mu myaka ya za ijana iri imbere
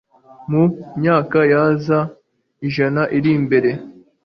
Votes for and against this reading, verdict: 2, 1, accepted